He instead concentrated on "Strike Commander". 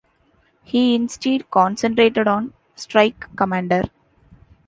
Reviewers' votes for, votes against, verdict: 1, 2, rejected